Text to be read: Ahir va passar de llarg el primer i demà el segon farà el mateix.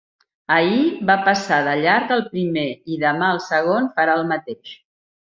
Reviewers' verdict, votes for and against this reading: accepted, 4, 0